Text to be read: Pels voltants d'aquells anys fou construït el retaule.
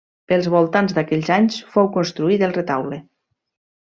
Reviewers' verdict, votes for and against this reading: accepted, 2, 0